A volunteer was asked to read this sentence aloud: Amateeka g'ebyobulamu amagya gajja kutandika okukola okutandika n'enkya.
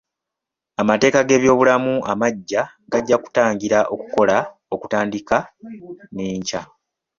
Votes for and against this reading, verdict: 2, 0, accepted